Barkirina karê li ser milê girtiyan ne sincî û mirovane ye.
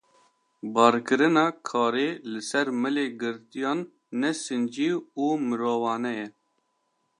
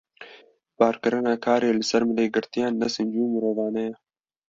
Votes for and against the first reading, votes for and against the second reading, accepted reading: 2, 0, 1, 2, first